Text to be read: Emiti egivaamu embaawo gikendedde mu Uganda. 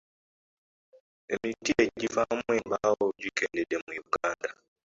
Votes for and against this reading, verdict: 2, 1, accepted